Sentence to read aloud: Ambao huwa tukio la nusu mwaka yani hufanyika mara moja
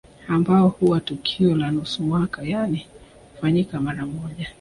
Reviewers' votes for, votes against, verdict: 1, 2, rejected